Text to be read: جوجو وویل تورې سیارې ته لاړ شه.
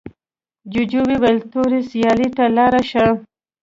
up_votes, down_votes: 2, 0